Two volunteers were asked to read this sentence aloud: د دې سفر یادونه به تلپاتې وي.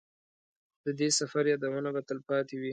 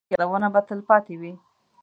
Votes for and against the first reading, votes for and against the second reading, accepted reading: 2, 0, 1, 2, first